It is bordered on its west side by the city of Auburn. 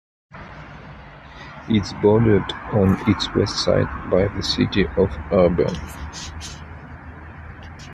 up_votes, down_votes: 2, 0